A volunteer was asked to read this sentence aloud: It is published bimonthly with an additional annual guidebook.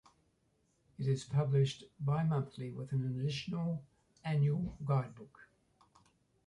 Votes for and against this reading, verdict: 2, 0, accepted